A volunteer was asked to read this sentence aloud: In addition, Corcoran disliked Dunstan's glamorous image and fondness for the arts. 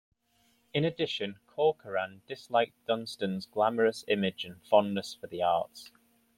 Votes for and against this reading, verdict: 2, 0, accepted